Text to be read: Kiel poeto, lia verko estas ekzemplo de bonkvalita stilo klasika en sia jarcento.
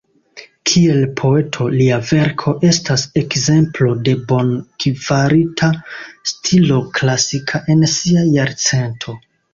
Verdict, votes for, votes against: accepted, 2, 0